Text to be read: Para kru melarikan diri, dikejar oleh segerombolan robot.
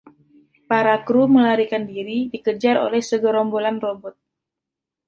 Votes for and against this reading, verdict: 2, 0, accepted